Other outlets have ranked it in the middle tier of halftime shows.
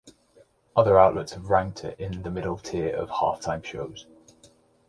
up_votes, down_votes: 2, 0